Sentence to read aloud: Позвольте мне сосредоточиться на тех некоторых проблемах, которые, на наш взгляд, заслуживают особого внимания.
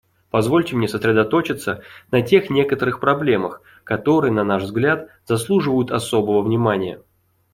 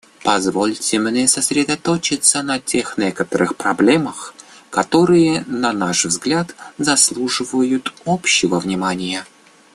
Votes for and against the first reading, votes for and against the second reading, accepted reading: 2, 1, 0, 2, first